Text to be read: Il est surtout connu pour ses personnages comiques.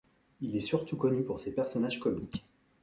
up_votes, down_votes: 2, 0